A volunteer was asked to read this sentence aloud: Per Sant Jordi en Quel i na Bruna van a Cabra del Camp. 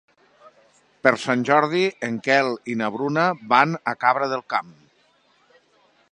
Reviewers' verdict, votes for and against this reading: accepted, 3, 0